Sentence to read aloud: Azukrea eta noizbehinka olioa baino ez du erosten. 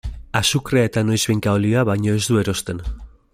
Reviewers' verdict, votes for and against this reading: accepted, 2, 0